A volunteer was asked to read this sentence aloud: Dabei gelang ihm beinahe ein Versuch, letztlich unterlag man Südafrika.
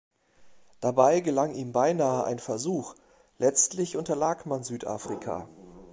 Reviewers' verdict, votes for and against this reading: accepted, 2, 0